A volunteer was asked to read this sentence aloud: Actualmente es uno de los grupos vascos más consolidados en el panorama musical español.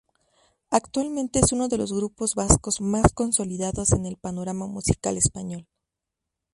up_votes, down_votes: 2, 0